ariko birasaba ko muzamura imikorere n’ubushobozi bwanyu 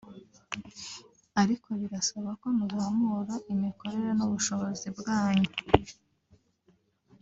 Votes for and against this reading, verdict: 2, 0, accepted